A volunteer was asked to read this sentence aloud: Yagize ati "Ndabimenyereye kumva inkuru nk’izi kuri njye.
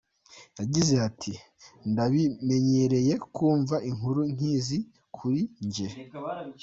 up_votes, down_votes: 0, 2